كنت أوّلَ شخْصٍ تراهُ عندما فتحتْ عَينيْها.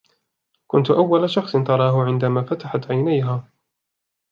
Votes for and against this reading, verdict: 2, 0, accepted